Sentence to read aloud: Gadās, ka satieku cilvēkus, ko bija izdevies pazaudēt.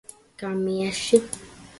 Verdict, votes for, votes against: rejected, 0, 2